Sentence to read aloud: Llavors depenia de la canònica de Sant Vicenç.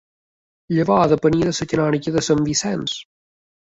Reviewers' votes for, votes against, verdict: 0, 2, rejected